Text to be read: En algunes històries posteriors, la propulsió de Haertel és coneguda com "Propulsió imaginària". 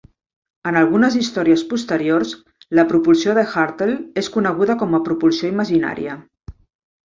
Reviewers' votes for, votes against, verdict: 1, 2, rejected